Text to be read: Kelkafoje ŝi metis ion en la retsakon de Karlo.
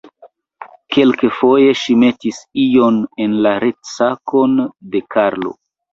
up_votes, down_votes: 0, 2